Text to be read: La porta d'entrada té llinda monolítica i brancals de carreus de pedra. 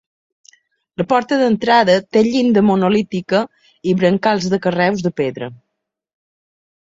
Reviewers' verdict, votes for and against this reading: accepted, 2, 0